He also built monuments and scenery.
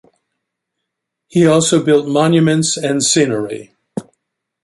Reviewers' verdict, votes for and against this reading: accepted, 2, 0